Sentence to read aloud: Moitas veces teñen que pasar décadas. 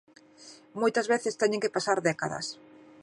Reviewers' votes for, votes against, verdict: 2, 0, accepted